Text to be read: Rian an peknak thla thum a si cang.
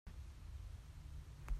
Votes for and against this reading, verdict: 0, 2, rejected